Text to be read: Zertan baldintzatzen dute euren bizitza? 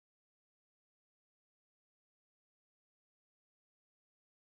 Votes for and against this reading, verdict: 0, 2, rejected